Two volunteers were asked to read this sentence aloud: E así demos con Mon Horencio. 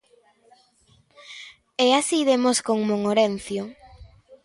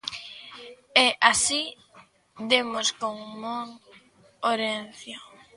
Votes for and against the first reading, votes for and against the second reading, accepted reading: 0, 2, 2, 0, second